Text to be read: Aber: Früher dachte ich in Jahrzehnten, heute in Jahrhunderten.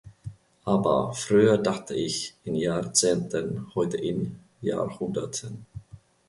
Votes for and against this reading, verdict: 4, 0, accepted